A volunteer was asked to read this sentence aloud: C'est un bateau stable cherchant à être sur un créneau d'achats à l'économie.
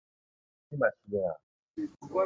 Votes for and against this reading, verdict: 1, 2, rejected